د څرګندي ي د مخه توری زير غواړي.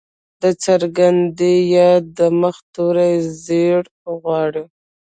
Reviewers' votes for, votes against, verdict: 1, 2, rejected